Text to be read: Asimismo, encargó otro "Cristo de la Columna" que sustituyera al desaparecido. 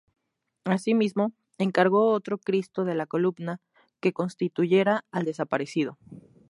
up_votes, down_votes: 0, 2